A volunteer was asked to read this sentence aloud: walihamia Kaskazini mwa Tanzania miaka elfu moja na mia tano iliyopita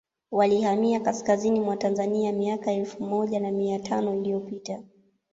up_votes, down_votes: 2, 1